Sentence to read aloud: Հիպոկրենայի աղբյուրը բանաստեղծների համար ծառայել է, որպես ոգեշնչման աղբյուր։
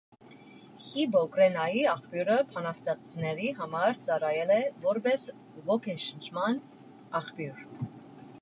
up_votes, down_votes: 2, 0